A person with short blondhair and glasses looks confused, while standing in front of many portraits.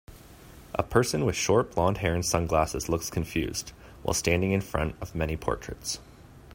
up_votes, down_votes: 1, 2